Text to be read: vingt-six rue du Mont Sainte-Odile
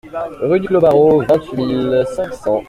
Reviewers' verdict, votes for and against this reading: rejected, 0, 2